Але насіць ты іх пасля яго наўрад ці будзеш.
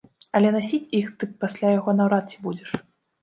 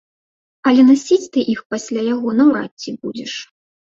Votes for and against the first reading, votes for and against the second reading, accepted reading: 0, 2, 3, 2, second